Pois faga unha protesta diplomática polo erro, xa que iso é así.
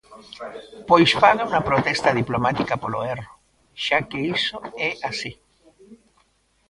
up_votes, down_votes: 1, 2